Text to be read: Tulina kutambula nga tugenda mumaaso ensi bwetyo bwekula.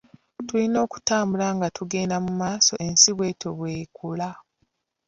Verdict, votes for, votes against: rejected, 0, 2